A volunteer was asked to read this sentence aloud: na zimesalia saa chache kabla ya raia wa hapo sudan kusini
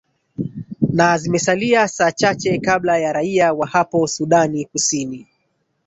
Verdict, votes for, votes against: rejected, 1, 2